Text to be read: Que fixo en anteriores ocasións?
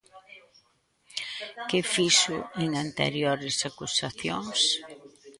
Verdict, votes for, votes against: rejected, 0, 2